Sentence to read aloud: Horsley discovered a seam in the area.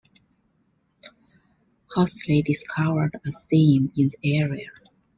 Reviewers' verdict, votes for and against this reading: rejected, 1, 2